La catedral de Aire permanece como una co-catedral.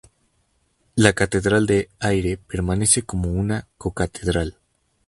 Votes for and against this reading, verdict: 2, 0, accepted